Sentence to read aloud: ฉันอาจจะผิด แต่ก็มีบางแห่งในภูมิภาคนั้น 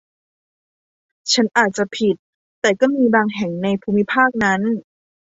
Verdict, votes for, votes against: accepted, 2, 0